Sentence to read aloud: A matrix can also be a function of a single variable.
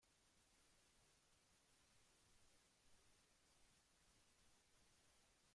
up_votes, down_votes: 0, 2